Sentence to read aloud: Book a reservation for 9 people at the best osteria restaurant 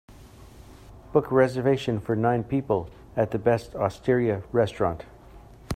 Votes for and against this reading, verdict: 0, 2, rejected